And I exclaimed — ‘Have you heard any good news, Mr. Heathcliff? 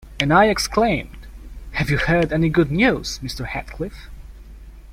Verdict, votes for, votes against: rejected, 1, 2